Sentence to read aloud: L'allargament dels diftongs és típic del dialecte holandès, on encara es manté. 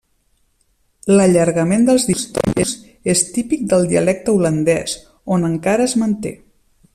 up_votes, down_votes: 0, 2